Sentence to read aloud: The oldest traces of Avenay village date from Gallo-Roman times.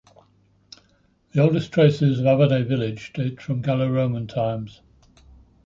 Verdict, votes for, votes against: accepted, 2, 0